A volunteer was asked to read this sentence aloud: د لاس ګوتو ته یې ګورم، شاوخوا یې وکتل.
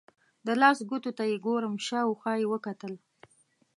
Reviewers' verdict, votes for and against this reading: accepted, 2, 0